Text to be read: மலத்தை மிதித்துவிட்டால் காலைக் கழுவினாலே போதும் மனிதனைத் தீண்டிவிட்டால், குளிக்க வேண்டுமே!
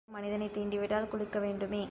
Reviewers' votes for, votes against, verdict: 0, 2, rejected